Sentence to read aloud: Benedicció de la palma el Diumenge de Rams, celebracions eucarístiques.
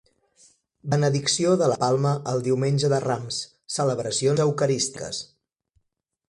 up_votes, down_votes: 1, 2